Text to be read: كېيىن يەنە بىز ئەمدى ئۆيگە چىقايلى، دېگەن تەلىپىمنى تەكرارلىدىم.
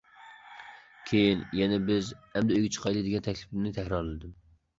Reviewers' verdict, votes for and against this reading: accepted, 2, 0